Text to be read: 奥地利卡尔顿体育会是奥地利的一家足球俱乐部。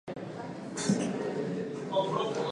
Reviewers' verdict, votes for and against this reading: rejected, 0, 3